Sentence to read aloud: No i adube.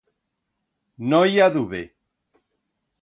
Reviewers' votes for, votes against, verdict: 2, 0, accepted